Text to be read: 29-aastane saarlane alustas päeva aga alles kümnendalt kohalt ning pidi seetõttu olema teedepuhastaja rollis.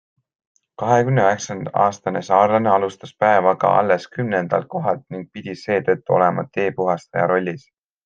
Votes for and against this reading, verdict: 0, 2, rejected